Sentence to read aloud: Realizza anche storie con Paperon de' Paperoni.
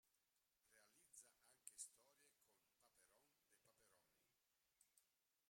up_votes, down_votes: 0, 2